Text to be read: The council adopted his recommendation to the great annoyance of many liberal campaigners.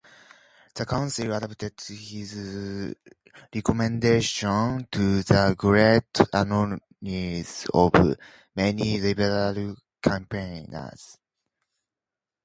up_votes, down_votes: 0, 2